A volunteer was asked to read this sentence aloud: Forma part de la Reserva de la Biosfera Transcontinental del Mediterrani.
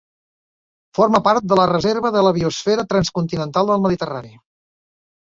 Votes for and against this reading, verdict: 4, 0, accepted